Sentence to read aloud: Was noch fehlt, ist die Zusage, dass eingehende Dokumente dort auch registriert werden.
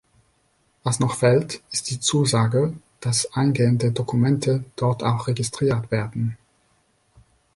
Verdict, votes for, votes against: accepted, 2, 1